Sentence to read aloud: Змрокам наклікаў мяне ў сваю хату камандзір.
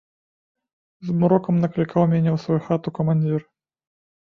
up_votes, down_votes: 2, 0